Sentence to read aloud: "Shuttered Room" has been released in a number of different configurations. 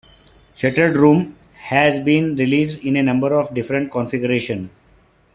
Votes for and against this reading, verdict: 2, 0, accepted